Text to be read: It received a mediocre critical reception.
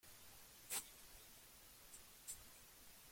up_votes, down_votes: 0, 2